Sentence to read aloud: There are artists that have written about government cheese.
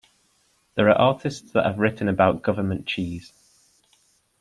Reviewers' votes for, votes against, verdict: 2, 0, accepted